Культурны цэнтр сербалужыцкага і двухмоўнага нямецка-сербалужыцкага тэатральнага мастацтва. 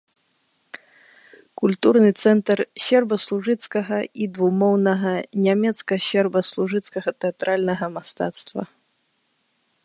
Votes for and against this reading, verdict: 0, 3, rejected